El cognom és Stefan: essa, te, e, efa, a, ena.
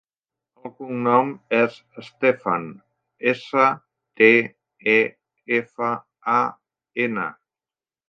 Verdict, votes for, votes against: accepted, 2, 0